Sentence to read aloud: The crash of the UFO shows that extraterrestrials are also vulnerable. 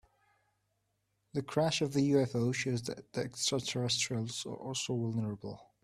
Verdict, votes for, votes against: accepted, 2, 0